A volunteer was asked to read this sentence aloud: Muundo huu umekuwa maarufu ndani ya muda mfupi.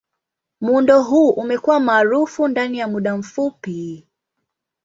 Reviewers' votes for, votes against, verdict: 2, 0, accepted